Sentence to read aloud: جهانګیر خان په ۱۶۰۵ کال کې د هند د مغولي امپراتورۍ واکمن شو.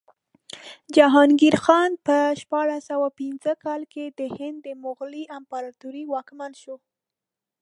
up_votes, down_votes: 0, 2